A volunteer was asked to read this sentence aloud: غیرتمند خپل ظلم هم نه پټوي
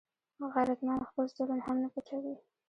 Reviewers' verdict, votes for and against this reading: rejected, 0, 2